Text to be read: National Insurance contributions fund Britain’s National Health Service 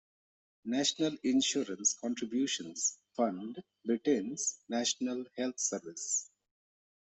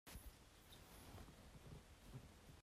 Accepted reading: first